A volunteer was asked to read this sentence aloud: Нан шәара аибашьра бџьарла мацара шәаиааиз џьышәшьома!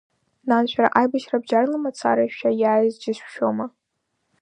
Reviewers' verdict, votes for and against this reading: accepted, 2, 1